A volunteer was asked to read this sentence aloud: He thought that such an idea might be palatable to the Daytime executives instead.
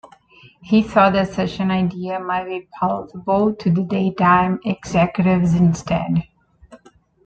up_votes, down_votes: 2, 0